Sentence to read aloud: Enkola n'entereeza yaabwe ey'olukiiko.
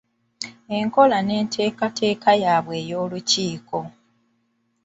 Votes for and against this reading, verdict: 1, 2, rejected